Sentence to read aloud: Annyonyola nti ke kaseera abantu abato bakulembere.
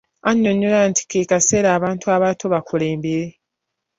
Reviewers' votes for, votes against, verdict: 2, 0, accepted